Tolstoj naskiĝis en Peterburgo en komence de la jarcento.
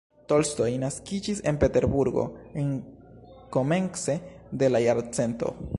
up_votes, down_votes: 1, 2